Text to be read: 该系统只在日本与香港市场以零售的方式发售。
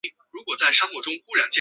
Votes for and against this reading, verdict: 3, 1, accepted